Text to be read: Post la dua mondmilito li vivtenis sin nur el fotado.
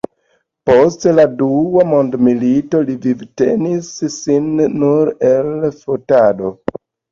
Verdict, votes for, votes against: accepted, 2, 0